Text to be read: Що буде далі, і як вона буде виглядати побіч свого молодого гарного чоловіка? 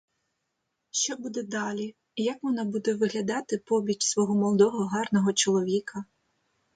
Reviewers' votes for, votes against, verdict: 2, 0, accepted